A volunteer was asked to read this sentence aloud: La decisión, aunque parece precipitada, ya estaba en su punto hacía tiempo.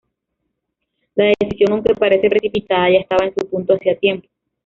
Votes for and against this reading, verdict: 1, 2, rejected